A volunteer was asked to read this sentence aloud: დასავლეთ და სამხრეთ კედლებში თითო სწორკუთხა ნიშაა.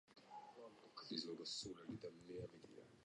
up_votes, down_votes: 0, 2